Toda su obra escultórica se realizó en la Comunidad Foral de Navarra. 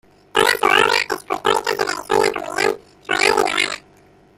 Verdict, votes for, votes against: rejected, 0, 2